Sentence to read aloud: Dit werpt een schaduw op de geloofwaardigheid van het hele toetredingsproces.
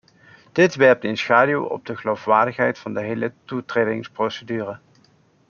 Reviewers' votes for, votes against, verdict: 0, 2, rejected